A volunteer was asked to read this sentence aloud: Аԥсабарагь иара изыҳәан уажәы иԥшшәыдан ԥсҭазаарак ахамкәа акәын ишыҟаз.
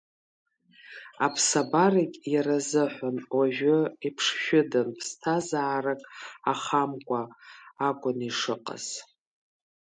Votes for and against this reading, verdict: 2, 0, accepted